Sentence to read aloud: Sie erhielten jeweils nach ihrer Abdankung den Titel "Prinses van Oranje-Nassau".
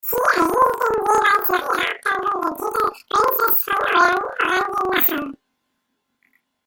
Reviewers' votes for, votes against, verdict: 0, 2, rejected